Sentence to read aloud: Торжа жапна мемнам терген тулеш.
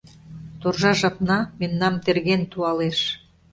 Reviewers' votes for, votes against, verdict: 0, 2, rejected